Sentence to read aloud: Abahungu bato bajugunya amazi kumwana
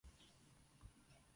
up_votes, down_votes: 0, 2